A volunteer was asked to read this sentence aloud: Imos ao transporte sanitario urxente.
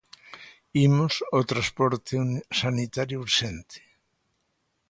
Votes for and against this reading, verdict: 2, 0, accepted